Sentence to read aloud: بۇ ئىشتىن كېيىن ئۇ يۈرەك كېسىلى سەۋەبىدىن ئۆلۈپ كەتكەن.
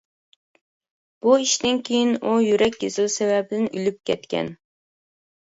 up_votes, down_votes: 2, 1